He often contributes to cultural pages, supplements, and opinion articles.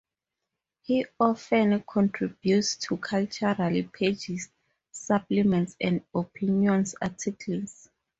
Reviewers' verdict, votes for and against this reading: rejected, 0, 2